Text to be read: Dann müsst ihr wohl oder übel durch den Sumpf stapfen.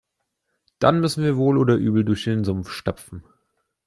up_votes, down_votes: 0, 2